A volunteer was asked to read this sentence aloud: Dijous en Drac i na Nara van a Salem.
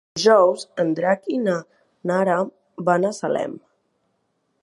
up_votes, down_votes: 0, 2